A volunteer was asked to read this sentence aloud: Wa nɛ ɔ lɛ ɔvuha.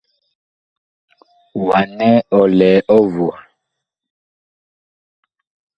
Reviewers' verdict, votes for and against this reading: rejected, 1, 2